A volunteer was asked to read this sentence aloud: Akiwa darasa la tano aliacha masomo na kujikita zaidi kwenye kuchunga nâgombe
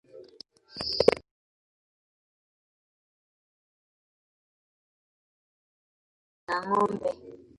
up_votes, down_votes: 0, 2